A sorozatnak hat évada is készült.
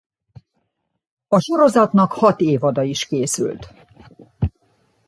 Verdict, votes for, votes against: accepted, 2, 0